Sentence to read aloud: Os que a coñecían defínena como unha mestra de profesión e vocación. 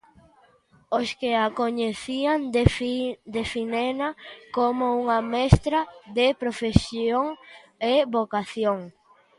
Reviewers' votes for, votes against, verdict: 0, 2, rejected